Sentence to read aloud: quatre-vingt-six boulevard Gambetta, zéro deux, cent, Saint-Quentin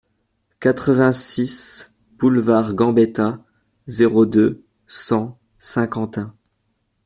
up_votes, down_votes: 2, 0